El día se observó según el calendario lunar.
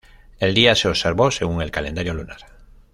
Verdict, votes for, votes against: rejected, 1, 2